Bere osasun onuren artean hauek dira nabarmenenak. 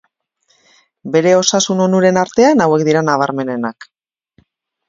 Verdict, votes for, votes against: accepted, 4, 1